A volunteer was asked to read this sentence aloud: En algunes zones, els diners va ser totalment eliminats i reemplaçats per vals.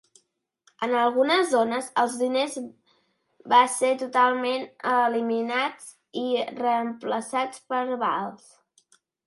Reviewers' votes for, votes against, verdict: 1, 2, rejected